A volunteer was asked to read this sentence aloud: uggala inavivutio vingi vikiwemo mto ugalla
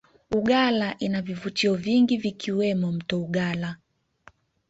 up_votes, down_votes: 2, 0